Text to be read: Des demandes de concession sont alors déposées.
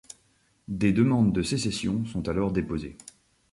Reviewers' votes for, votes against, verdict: 1, 2, rejected